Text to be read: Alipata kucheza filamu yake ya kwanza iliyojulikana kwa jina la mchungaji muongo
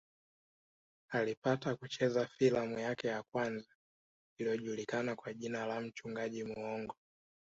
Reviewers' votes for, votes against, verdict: 1, 2, rejected